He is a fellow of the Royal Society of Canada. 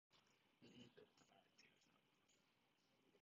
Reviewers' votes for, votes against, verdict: 0, 2, rejected